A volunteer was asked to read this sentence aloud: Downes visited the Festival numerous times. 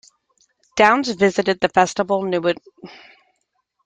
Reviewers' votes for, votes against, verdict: 0, 3, rejected